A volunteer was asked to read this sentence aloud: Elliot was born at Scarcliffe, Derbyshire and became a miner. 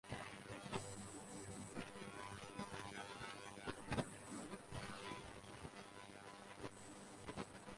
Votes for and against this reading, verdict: 0, 4, rejected